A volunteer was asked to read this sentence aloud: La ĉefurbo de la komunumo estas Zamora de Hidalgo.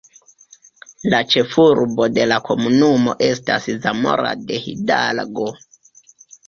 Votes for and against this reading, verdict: 2, 0, accepted